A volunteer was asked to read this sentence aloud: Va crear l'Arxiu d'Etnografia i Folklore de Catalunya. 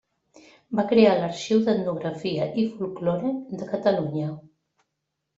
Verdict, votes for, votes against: accepted, 3, 0